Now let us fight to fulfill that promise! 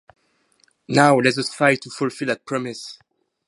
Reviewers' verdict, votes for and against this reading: rejected, 0, 4